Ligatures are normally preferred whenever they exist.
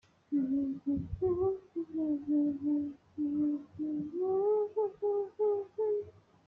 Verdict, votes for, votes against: rejected, 0, 2